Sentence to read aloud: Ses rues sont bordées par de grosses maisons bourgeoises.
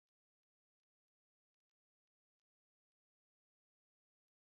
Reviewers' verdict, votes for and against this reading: rejected, 0, 2